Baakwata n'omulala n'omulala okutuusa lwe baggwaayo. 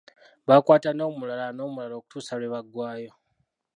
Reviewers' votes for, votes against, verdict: 0, 2, rejected